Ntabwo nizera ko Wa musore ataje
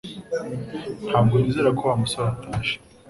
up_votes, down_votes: 0, 2